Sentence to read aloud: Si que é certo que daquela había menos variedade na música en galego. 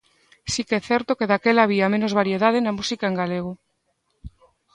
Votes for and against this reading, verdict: 2, 0, accepted